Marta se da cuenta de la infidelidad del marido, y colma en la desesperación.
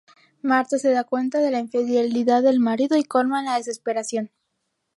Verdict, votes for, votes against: rejected, 0, 2